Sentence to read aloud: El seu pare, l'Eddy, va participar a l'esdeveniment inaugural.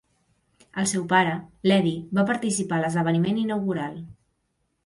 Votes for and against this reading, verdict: 2, 0, accepted